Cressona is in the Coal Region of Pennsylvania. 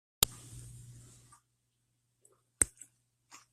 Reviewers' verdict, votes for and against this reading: rejected, 0, 2